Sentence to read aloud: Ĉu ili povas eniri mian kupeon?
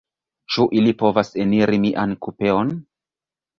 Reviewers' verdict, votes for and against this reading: rejected, 0, 2